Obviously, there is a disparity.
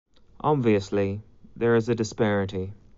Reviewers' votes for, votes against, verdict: 2, 0, accepted